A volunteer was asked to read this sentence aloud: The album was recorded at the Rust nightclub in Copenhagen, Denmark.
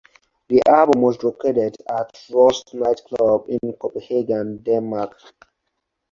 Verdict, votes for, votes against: rejected, 2, 2